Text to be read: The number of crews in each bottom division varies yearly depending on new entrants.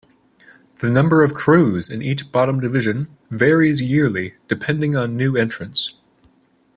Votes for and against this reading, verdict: 2, 0, accepted